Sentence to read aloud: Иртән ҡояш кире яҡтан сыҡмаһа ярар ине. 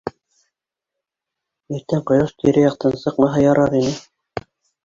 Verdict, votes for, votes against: rejected, 0, 2